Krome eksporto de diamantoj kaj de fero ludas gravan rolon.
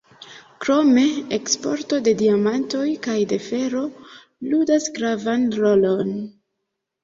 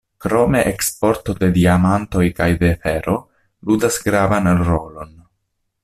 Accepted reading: second